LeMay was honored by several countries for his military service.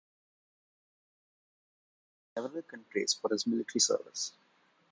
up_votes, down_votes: 0, 2